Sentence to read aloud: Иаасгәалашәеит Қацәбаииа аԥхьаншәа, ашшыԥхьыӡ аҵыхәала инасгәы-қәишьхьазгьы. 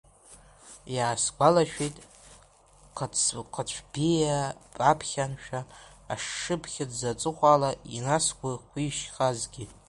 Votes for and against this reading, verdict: 0, 2, rejected